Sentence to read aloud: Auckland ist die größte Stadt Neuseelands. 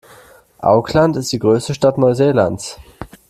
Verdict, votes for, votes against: rejected, 1, 2